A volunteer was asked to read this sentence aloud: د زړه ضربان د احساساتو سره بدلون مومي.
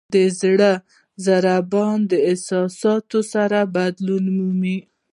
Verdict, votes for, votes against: accepted, 2, 0